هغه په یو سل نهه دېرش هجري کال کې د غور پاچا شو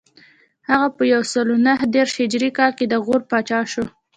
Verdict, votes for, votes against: accepted, 2, 1